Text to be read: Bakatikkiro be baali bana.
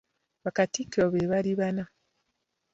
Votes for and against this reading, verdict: 0, 2, rejected